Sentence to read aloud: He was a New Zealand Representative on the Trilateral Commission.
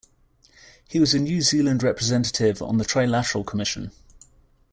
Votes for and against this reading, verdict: 2, 0, accepted